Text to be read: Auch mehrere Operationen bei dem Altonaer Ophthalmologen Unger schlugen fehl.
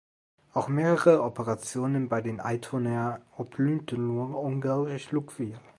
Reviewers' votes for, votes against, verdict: 0, 2, rejected